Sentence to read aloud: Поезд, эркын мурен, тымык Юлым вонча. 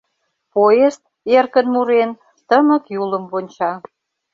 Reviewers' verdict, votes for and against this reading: accepted, 2, 0